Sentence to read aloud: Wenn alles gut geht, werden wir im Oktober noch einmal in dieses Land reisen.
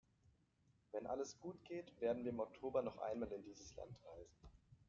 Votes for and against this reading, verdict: 0, 2, rejected